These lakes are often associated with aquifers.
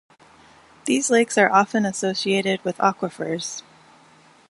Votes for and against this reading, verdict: 2, 0, accepted